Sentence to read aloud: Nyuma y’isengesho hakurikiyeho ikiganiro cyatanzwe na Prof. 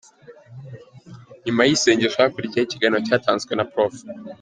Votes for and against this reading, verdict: 2, 0, accepted